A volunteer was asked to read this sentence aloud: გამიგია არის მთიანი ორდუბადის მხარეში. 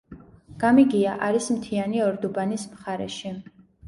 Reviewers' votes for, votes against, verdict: 0, 2, rejected